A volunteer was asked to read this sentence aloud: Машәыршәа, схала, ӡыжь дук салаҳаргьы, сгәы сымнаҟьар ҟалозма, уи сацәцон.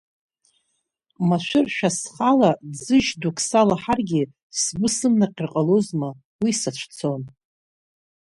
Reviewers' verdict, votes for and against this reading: accepted, 2, 0